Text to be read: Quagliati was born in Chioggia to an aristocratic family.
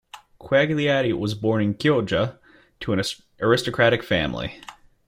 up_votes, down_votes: 1, 2